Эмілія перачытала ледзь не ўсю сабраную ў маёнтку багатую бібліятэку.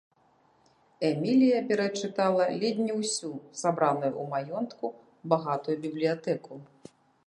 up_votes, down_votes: 1, 2